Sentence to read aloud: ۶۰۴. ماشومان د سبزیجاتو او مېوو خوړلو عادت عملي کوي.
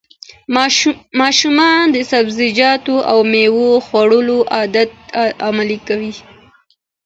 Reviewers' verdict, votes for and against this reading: rejected, 0, 2